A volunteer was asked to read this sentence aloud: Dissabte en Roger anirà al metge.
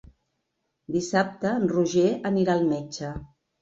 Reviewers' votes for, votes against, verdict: 3, 0, accepted